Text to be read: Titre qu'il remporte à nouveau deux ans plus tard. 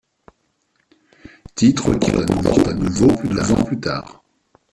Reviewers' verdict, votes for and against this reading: rejected, 1, 2